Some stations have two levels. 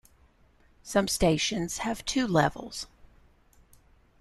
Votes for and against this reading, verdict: 2, 0, accepted